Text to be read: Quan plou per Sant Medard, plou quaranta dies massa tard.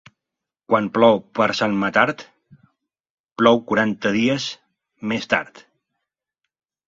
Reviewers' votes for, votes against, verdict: 1, 2, rejected